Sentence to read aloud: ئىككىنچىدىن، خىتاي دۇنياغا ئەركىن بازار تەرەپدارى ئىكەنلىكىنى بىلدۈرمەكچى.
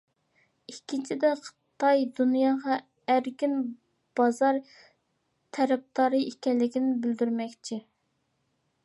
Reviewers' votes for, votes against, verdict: 1, 2, rejected